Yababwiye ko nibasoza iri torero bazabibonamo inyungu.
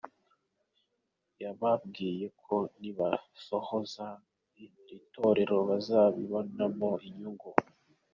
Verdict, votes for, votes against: rejected, 1, 2